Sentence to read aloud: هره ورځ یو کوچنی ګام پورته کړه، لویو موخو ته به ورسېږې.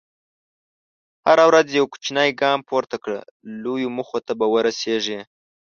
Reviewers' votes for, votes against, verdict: 2, 0, accepted